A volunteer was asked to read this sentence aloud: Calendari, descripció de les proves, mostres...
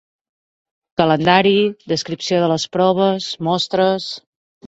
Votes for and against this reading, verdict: 2, 0, accepted